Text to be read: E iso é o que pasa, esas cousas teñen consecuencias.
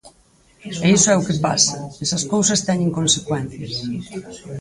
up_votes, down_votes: 0, 4